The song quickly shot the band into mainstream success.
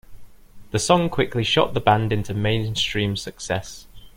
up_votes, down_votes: 2, 0